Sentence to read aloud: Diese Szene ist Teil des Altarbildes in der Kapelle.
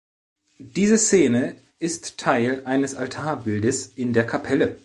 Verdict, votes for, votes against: rejected, 1, 2